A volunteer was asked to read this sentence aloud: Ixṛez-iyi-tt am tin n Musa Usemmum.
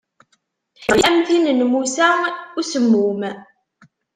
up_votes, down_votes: 0, 2